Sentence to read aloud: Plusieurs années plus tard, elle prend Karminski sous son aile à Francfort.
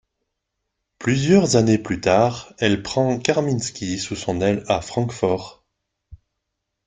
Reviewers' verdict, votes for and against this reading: accepted, 2, 0